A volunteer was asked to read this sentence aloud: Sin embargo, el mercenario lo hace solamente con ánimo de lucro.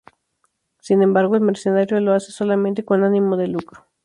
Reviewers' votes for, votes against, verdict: 2, 0, accepted